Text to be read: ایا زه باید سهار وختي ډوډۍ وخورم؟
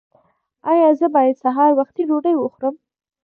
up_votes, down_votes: 1, 2